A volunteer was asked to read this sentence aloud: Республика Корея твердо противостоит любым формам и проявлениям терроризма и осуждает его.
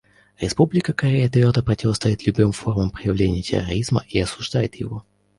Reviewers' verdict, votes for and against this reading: rejected, 0, 2